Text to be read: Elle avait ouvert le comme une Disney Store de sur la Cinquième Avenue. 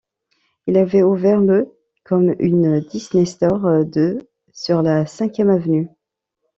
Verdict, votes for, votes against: rejected, 1, 2